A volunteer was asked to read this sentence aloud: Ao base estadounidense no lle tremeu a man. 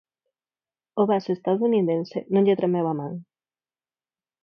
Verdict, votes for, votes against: accepted, 4, 0